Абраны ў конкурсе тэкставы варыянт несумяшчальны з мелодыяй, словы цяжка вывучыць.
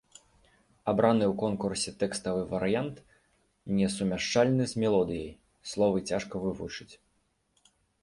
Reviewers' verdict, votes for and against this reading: rejected, 1, 3